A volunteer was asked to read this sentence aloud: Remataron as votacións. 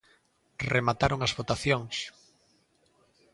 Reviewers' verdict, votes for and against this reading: accepted, 2, 0